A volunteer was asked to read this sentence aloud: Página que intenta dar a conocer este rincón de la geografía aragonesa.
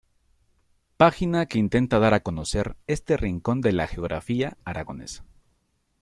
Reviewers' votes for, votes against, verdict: 2, 0, accepted